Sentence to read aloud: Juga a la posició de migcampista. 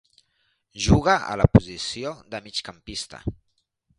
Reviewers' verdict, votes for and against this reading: accepted, 2, 0